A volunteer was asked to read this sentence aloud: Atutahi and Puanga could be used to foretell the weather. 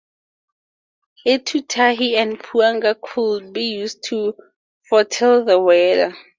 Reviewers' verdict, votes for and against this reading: accepted, 2, 0